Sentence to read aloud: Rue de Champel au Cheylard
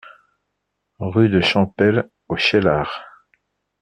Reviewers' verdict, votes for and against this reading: accepted, 2, 0